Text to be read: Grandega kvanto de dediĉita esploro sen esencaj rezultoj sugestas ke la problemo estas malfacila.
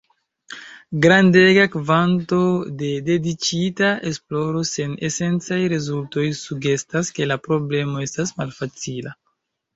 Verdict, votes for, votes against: accepted, 3, 0